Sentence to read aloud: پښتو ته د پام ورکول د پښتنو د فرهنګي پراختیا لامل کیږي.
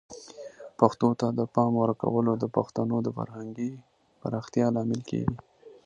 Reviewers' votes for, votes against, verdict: 2, 1, accepted